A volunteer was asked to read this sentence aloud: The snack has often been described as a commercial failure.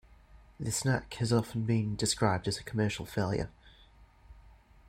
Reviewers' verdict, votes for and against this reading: accepted, 2, 0